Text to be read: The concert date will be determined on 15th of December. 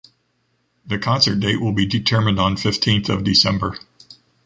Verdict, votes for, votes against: rejected, 0, 2